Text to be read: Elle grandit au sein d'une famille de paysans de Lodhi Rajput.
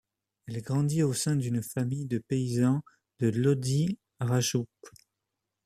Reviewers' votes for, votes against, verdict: 0, 2, rejected